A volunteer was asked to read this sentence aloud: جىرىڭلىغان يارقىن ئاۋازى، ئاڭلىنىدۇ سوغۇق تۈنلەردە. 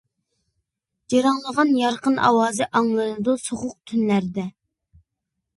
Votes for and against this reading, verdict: 2, 0, accepted